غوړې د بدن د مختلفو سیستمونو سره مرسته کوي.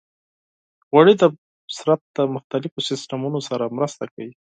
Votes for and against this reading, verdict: 2, 4, rejected